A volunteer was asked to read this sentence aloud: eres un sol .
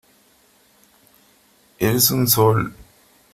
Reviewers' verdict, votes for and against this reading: accepted, 3, 0